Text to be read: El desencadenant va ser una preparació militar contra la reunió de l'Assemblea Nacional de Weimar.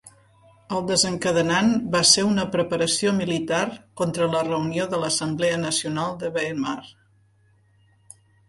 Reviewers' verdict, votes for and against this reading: accepted, 3, 0